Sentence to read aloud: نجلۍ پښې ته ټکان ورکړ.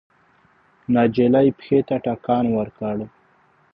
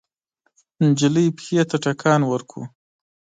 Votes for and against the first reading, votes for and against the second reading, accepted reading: 0, 2, 2, 0, second